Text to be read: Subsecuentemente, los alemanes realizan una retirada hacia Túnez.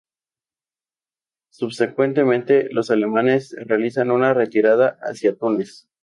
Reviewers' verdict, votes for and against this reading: accepted, 2, 0